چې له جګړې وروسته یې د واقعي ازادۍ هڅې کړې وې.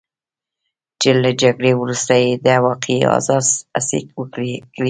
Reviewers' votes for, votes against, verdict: 0, 2, rejected